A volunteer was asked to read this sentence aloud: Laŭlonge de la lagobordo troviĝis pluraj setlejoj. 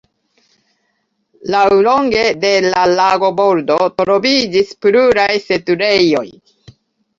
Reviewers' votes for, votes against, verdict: 0, 2, rejected